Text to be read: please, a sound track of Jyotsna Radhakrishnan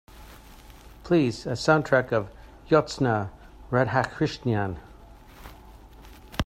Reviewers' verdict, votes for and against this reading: rejected, 0, 2